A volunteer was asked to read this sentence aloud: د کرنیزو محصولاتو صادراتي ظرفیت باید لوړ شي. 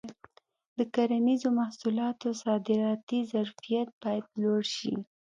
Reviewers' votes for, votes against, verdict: 2, 0, accepted